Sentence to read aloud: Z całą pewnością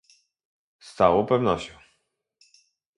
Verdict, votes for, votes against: rejected, 2, 2